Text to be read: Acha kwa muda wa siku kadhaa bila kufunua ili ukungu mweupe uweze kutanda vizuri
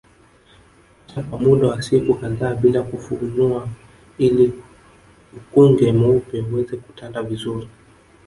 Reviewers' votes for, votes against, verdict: 1, 2, rejected